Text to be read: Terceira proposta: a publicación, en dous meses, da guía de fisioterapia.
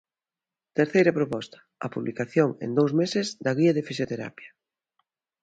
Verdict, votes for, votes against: accepted, 2, 0